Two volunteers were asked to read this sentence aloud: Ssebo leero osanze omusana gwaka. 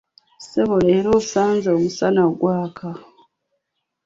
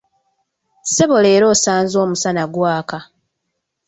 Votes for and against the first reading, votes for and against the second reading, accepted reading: 1, 2, 2, 0, second